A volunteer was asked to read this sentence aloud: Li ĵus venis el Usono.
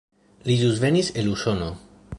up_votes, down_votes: 2, 1